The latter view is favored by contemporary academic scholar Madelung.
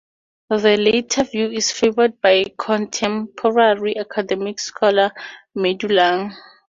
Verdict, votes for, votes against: rejected, 0, 2